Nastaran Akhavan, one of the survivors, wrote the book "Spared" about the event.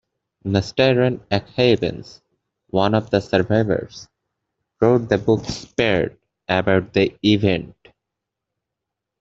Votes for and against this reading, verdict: 2, 0, accepted